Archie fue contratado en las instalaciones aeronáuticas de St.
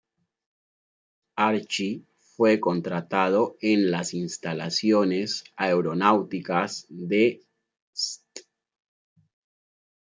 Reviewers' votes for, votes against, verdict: 2, 0, accepted